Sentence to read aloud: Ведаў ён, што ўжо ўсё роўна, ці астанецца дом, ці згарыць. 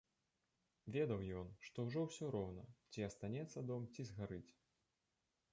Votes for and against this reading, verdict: 3, 1, accepted